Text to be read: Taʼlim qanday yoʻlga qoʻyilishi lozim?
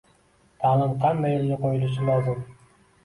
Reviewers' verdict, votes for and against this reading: accepted, 2, 0